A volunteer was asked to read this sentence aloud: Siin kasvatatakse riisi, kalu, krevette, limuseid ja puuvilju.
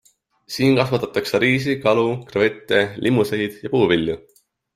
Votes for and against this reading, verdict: 2, 0, accepted